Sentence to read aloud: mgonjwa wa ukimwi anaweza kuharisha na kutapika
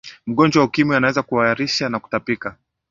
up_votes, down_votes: 2, 1